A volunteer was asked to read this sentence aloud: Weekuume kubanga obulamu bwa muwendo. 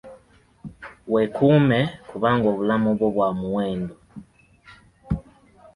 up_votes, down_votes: 0, 2